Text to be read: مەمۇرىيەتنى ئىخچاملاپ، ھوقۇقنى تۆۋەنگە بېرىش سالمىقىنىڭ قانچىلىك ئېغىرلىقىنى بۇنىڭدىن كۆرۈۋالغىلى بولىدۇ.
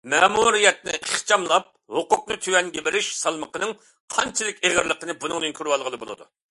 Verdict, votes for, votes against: accepted, 2, 0